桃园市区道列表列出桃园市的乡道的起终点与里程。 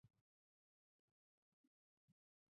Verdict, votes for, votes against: rejected, 0, 2